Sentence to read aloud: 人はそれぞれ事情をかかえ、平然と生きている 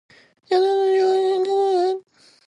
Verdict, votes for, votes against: rejected, 0, 2